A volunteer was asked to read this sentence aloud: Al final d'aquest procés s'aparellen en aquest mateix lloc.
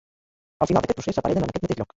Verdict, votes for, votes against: rejected, 0, 2